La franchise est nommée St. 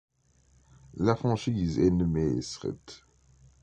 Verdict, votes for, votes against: rejected, 1, 2